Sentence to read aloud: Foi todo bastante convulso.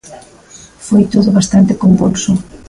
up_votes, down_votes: 2, 0